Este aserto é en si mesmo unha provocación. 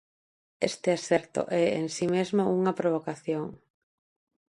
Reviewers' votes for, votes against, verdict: 2, 0, accepted